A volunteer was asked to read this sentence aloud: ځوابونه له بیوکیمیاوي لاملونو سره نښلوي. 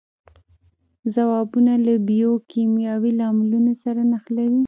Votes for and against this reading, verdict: 1, 2, rejected